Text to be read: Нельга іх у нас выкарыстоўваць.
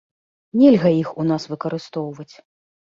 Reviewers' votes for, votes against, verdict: 0, 2, rejected